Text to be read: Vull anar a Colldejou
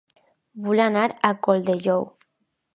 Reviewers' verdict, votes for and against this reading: accepted, 3, 0